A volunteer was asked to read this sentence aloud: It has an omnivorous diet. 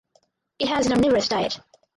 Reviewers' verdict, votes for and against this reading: rejected, 0, 4